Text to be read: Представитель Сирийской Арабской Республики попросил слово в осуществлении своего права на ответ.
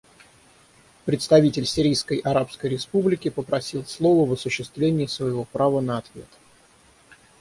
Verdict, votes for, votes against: accepted, 3, 0